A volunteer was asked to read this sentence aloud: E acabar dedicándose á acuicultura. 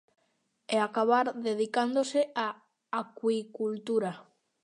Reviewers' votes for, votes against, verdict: 2, 0, accepted